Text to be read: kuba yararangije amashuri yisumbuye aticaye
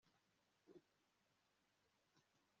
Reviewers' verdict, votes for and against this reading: rejected, 1, 2